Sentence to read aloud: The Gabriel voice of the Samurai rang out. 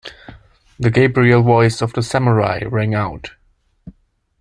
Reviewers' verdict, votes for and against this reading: accepted, 2, 0